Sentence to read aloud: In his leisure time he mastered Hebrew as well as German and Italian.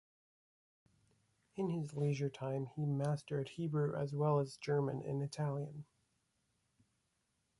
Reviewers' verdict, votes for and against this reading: accepted, 2, 0